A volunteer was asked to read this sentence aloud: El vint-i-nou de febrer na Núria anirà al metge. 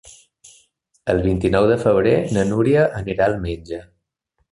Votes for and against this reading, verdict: 3, 0, accepted